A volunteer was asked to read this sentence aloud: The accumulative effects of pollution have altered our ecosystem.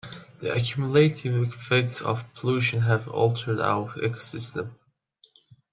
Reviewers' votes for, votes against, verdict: 1, 2, rejected